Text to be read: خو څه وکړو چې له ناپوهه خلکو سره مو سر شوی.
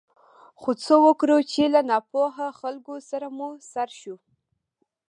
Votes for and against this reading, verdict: 2, 0, accepted